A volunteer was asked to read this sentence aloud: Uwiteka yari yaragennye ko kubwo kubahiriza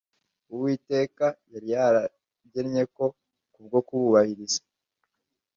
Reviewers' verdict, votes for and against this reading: accepted, 2, 0